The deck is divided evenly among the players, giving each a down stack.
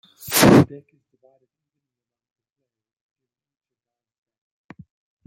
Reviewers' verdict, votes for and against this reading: rejected, 0, 3